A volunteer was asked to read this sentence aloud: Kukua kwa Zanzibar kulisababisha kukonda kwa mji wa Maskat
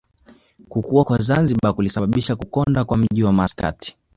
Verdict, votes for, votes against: accepted, 2, 1